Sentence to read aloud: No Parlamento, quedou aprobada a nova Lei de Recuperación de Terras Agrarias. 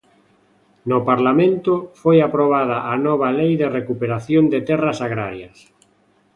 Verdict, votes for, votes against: rejected, 0, 2